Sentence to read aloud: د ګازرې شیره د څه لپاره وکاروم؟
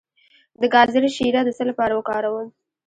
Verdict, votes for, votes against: rejected, 1, 2